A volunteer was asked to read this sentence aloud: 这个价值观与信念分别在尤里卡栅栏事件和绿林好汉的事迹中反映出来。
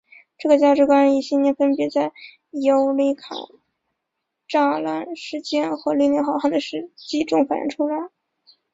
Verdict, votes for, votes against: accepted, 2, 1